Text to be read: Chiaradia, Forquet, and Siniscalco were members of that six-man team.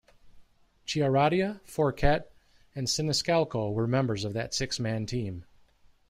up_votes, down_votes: 2, 0